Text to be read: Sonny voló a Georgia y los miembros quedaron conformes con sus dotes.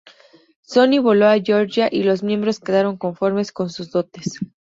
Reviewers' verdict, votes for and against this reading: accepted, 2, 0